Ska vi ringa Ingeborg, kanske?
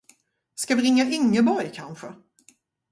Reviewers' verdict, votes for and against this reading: rejected, 2, 2